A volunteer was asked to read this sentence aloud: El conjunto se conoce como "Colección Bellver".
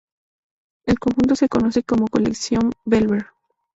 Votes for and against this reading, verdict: 4, 2, accepted